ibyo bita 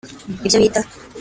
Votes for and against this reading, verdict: 2, 1, accepted